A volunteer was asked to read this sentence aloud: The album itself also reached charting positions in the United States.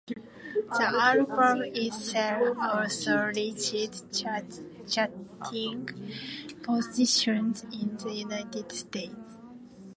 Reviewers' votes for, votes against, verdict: 0, 2, rejected